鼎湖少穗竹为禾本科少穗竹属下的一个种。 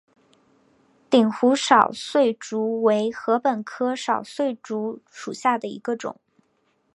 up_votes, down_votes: 8, 0